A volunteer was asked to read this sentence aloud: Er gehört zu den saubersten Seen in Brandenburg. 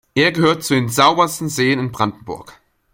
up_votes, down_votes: 2, 0